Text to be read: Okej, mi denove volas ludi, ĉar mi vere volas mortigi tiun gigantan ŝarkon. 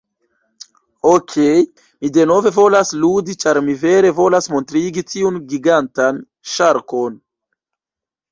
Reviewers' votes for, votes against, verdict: 0, 2, rejected